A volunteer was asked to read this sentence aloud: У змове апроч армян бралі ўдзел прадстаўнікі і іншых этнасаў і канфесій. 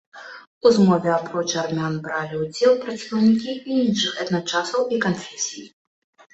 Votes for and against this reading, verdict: 0, 2, rejected